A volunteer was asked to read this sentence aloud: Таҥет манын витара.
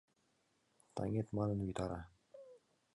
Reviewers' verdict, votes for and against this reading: accepted, 2, 1